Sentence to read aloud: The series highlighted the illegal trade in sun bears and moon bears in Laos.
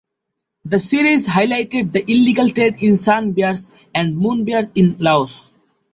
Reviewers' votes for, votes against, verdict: 2, 0, accepted